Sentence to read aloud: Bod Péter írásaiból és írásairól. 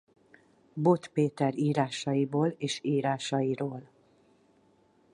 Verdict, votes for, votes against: accepted, 4, 0